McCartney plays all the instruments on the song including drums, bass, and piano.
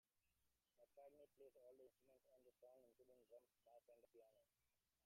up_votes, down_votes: 0, 2